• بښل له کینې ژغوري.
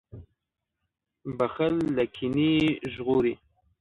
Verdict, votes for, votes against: rejected, 1, 2